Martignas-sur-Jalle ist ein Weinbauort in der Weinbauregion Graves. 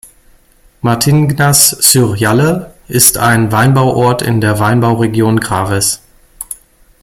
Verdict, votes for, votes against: rejected, 1, 2